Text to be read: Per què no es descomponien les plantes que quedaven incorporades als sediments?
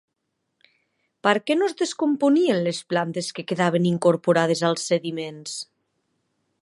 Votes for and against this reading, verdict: 3, 0, accepted